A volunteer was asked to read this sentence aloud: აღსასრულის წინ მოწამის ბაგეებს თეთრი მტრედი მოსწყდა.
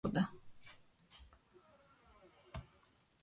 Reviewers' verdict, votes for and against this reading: rejected, 1, 2